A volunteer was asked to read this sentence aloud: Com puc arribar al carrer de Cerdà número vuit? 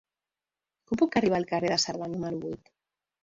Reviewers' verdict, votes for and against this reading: rejected, 1, 2